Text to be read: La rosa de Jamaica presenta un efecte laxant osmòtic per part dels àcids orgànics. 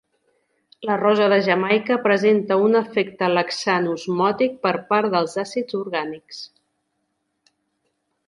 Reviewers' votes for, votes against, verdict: 2, 0, accepted